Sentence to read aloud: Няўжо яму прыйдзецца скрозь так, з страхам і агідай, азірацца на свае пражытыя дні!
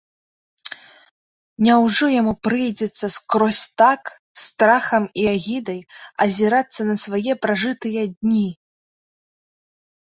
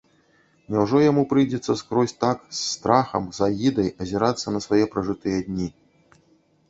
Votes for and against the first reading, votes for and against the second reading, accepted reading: 3, 0, 1, 2, first